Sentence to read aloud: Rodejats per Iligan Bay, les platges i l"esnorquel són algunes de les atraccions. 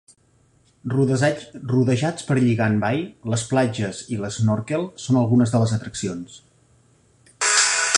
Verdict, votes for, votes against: rejected, 1, 2